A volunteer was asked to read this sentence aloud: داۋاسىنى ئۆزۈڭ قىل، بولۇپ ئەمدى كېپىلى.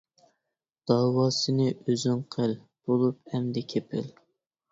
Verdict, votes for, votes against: rejected, 1, 2